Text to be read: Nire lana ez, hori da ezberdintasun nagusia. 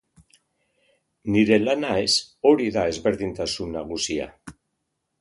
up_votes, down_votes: 2, 1